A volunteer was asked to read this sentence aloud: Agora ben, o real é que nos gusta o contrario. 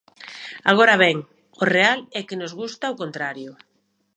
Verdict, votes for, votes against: accepted, 2, 0